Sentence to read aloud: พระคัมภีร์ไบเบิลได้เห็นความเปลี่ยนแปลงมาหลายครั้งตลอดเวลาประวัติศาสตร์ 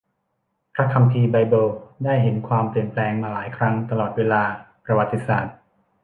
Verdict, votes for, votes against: accepted, 2, 0